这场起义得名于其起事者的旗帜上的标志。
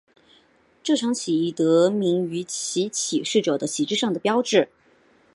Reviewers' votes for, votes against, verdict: 3, 1, accepted